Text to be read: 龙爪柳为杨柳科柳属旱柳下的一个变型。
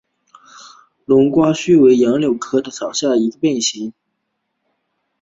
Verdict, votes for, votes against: rejected, 1, 2